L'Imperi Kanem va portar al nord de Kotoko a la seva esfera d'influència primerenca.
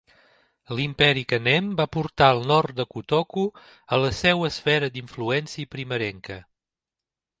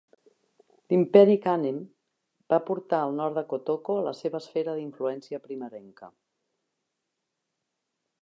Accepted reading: first